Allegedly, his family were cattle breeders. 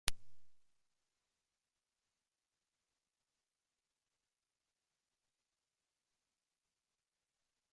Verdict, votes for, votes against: rejected, 0, 2